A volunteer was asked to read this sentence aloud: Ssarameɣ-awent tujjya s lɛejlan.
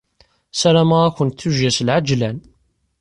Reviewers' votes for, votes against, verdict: 2, 0, accepted